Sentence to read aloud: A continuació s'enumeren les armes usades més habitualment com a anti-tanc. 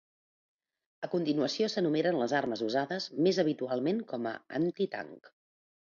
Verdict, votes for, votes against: accepted, 2, 0